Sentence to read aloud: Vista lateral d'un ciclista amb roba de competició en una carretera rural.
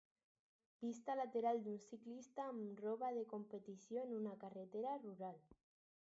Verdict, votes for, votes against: accepted, 4, 2